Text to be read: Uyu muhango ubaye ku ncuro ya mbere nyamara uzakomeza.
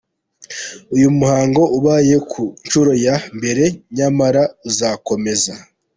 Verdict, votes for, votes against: accepted, 2, 0